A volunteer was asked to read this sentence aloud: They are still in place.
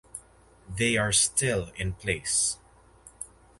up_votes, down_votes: 4, 0